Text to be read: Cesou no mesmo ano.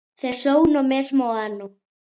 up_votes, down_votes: 2, 0